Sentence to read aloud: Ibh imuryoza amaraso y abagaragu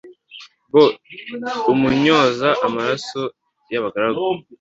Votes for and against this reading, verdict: 1, 2, rejected